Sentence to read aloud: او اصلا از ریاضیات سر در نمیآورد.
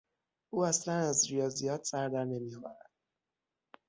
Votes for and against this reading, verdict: 3, 6, rejected